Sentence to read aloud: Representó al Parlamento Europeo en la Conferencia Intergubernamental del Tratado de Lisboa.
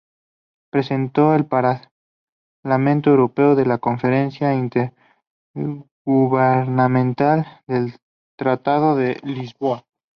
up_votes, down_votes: 2, 4